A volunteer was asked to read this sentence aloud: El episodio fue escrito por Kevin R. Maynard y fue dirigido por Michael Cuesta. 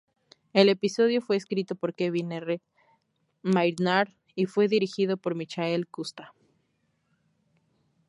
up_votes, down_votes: 2, 2